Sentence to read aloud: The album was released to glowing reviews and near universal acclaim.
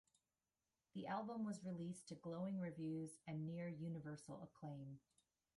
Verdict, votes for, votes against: rejected, 1, 2